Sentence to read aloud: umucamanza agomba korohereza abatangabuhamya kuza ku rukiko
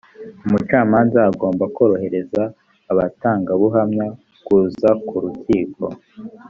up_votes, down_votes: 2, 0